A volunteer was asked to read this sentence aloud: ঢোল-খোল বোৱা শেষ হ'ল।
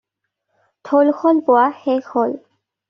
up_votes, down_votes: 2, 0